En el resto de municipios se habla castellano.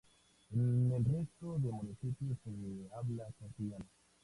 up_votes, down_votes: 2, 0